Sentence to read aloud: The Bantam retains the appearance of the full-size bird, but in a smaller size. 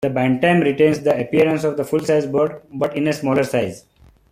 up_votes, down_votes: 2, 1